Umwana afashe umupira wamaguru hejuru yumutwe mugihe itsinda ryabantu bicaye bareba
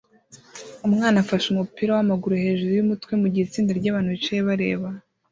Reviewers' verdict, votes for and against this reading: accepted, 2, 0